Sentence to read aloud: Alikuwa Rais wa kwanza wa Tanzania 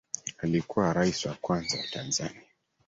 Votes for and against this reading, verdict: 2, 0, accepted